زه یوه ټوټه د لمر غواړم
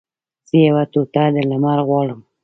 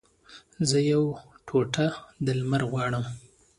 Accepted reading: second